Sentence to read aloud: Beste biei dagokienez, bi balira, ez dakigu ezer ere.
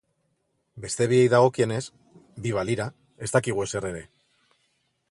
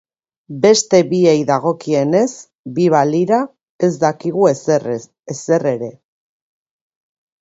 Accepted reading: first